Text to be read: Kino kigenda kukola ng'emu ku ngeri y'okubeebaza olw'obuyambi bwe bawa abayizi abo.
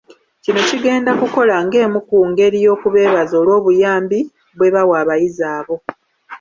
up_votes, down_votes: 1, 2